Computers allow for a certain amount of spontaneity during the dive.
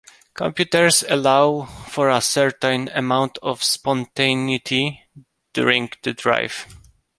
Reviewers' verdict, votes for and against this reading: rejected, 0, 2